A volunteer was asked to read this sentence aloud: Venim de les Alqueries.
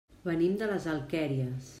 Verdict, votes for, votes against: rejected, 0, 2